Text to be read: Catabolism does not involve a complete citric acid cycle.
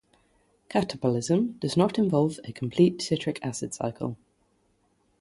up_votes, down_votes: 3, 0